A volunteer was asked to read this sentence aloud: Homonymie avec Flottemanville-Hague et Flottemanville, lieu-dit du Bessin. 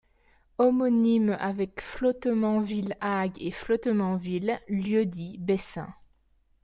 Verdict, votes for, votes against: rejected, 0, 2